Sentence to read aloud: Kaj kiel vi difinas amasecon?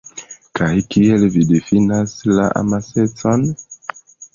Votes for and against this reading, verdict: 1, 2, rejected